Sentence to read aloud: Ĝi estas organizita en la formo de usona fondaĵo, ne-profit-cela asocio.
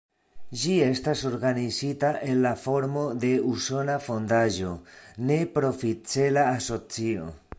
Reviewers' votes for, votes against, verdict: 2, 0, accepted